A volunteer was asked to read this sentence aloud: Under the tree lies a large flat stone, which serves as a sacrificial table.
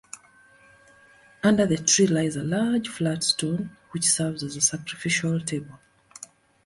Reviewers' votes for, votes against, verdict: 2, 1, accepted